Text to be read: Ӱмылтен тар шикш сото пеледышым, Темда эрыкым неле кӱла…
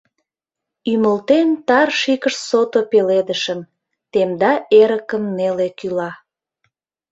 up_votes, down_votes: 1, 2